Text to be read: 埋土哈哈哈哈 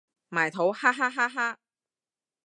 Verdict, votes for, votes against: accepted, 2, 0